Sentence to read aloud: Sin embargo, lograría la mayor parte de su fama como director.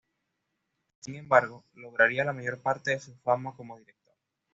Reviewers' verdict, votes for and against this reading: accepted, 2, 1